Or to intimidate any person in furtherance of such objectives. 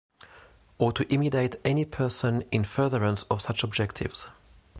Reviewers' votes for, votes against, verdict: 1, 2, rejected